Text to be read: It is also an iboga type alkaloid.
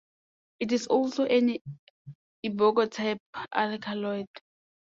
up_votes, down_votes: 0, 2